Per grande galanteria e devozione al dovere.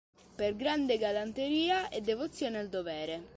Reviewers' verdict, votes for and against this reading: accepted, 2, 0